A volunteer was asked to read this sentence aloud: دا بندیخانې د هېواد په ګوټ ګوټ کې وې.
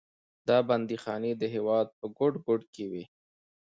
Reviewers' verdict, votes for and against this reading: accepted, 2, 0